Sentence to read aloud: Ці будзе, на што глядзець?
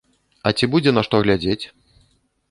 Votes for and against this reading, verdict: 0, 2, rejected